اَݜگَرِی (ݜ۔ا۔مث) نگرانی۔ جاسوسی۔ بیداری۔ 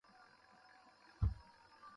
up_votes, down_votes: 0, 2